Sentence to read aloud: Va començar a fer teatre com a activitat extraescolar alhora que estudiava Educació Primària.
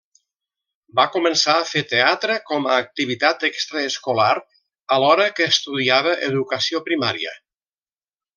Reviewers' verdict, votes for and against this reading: rejected, 1, 2